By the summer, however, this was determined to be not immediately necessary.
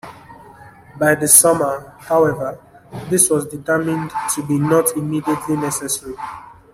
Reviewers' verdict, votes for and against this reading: accepted, 3, 0